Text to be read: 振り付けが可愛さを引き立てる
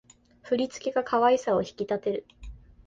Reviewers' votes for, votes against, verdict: 1, 2, rejected